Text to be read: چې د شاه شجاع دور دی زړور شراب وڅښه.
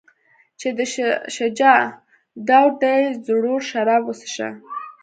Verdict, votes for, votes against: accepted, 2, 1